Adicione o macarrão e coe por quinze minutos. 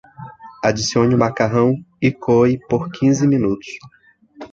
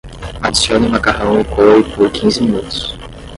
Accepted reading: first